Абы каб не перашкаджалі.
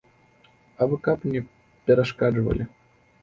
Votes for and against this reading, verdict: 0, 2, rejected